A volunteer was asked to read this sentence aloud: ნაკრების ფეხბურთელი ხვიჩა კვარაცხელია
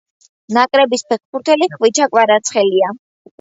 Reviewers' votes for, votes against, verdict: 2, 0, accepted